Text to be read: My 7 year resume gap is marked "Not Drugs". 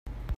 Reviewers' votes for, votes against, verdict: 0, 2, rejected